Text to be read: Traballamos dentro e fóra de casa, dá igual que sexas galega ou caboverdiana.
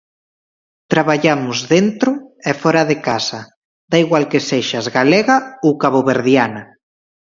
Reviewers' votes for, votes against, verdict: 2, 0, accepted